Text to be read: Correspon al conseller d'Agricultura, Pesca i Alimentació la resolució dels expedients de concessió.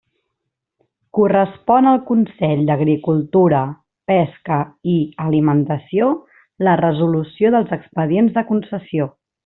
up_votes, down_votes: 0, 2